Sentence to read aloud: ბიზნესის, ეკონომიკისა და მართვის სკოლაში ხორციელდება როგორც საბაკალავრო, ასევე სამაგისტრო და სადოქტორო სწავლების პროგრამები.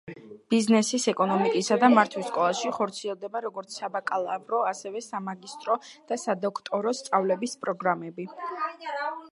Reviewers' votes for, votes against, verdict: 2, 0, accepted